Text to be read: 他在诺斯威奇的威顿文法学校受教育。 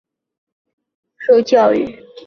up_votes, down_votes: 0, 2